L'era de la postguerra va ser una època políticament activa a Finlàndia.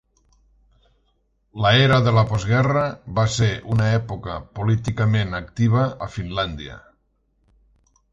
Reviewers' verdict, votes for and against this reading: rejected, 0, 2